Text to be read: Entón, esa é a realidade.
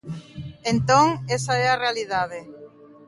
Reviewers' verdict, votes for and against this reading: rejected, 1, 2